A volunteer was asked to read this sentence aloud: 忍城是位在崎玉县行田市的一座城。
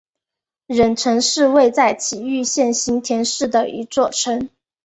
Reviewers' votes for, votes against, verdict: 3, 2, accepted